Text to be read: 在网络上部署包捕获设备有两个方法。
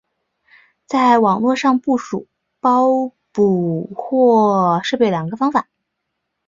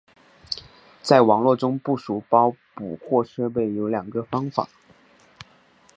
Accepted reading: first